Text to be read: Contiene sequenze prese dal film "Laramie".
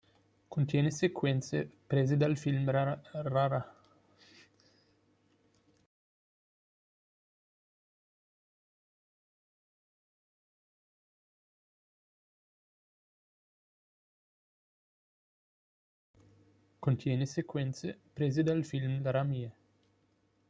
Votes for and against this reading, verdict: 0, 2, rejected